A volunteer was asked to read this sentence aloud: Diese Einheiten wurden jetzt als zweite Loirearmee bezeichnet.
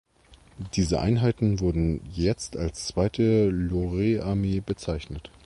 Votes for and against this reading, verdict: 1, 2, rejected